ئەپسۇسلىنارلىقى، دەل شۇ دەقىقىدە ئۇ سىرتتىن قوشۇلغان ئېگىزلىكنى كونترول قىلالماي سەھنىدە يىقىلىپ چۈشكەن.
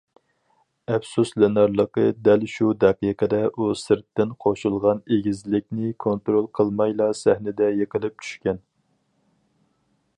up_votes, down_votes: 0, 4